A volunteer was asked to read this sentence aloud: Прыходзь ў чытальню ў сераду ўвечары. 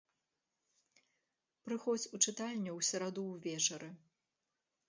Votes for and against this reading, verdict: 0, 2, rejected